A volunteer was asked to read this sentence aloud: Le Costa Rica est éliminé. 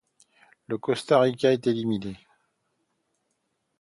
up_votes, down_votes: 2, 0